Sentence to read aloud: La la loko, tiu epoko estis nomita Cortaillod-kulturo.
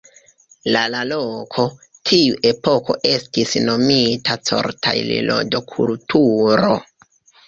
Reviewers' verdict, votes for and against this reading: rejected, 1, 2